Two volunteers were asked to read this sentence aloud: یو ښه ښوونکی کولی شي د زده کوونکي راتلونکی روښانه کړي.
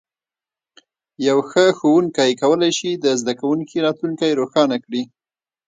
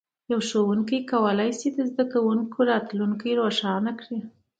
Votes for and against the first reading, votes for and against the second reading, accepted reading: 0, 2, 2, 0, second